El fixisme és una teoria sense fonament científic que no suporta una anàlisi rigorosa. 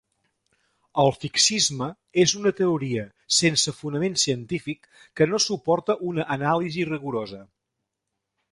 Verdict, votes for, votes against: accepted, 2, 0